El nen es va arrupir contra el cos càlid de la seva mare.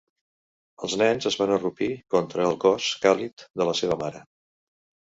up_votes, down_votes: 0, 2